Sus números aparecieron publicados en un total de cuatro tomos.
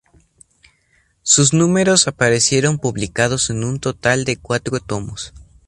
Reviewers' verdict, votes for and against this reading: accepted, 2, 0